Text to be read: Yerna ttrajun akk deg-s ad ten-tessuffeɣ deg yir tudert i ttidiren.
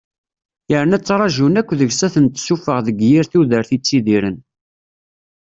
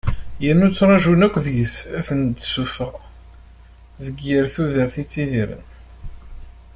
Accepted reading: first